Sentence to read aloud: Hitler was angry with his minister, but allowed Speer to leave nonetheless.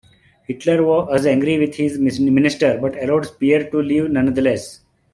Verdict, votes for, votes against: rejected, 0, 2